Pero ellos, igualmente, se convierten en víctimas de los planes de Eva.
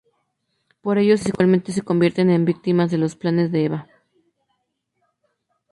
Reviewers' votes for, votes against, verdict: 0, 2, rejected